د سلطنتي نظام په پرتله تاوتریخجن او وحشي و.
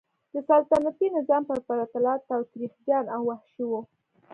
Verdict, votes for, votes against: accepted, 2, 0